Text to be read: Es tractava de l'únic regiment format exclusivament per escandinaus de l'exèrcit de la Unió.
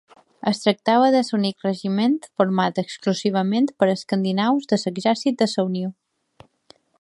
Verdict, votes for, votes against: rejected, 0, 3